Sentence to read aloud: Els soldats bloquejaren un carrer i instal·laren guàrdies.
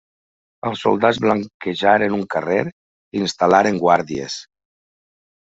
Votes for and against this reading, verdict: 0, 2, rejected